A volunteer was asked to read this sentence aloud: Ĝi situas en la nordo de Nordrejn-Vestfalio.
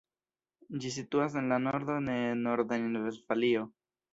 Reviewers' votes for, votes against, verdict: 0, 2, rejected